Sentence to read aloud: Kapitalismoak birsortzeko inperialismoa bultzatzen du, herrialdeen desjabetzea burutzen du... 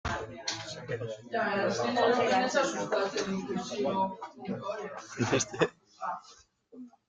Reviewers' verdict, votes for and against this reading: rejected, 0, 2